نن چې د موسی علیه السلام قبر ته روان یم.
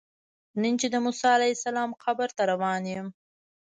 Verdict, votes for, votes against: rejected, 1, 2